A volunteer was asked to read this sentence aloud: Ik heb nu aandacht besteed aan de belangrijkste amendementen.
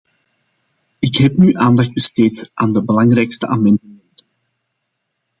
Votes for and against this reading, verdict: 2, 3, rejected